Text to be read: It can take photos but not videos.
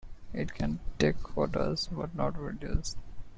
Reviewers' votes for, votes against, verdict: 2, 0, accepted